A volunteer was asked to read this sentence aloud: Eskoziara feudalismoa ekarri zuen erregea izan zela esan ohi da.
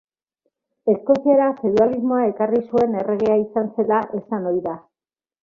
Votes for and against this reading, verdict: 3, 0, accepted